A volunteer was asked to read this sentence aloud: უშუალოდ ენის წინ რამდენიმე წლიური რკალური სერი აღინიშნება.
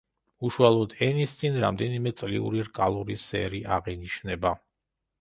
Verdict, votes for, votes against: accepted, 2, 0